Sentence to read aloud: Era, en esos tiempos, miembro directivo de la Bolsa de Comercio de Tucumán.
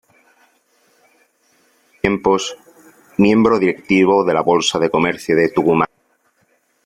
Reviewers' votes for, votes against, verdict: 0, 2, rejected